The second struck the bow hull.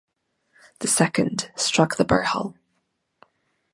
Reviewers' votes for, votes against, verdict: 1, 2, rejected